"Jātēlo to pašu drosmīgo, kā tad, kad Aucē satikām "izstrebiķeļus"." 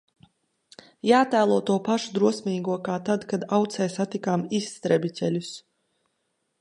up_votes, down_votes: 2, 0